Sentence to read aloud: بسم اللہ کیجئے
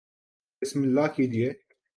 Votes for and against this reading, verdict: 2, 0, accepted